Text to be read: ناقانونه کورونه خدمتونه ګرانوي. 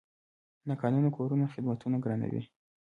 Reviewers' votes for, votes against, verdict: 2, 0, accepted